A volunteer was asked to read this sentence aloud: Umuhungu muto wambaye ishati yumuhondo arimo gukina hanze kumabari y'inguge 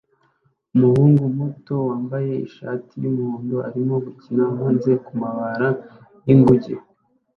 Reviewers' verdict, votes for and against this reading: accepted, 2, 0